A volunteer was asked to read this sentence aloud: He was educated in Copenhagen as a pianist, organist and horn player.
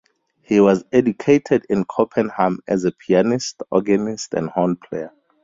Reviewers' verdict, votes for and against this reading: rejected, 2, 2